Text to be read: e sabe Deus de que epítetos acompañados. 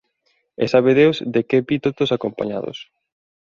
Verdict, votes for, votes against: rejected, 0, 2